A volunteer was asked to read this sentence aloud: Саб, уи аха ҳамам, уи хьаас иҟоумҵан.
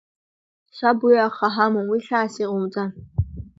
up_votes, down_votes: 2, 1